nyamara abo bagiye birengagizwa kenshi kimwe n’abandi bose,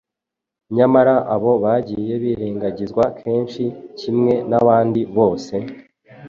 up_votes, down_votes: 2, 0